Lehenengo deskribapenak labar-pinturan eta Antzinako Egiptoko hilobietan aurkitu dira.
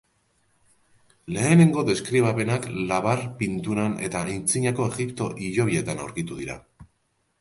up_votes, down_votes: 0, 2